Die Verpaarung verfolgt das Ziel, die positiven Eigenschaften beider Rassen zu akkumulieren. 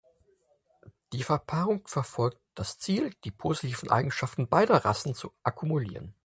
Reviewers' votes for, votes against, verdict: 4, 0, accepted